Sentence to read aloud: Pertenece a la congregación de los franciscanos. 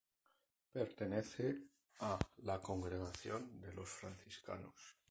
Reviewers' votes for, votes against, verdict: 2, 0, accepted